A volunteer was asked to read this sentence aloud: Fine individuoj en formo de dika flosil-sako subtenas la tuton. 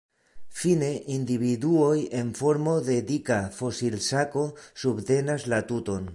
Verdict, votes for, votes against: rejected, 1, 2